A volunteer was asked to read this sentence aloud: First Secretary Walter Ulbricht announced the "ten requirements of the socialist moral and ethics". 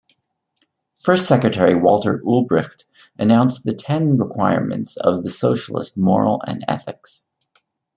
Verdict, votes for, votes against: accepted, 2, 0